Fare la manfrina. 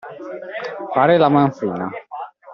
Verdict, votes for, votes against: accepted, 2, 0